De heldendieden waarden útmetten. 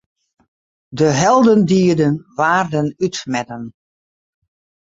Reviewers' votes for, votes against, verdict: 2, 2, rejected